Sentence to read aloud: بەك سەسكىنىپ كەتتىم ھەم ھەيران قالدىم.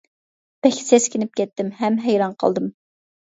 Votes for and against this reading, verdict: 2, 1, accepted